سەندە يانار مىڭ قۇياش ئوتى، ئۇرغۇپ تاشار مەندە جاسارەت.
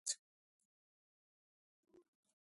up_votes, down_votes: 0, 2